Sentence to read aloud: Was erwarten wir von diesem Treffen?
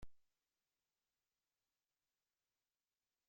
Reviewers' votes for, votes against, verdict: 0, 2, rejected